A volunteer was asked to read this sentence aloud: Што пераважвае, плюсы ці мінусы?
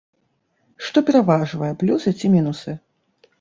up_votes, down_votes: 2, 0